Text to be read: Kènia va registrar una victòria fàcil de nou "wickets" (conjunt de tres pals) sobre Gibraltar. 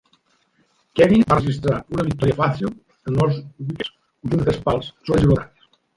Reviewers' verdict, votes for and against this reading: rejected, 1, 2